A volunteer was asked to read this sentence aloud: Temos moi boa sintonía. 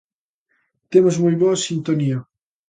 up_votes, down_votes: 2, 0